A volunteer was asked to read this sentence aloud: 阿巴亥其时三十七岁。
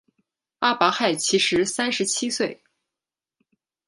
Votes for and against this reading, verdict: 2, 0, accepted